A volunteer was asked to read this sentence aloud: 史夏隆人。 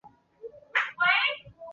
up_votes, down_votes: 0, 3